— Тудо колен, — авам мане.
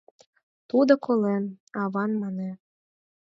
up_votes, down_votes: 4, 0